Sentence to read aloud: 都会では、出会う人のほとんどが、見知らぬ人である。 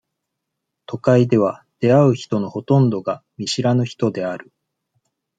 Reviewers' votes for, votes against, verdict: 2, 0, accepted